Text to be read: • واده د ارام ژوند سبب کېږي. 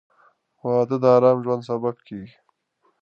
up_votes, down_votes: 2, 0